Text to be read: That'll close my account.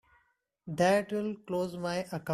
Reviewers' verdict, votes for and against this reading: rejected, 0, 2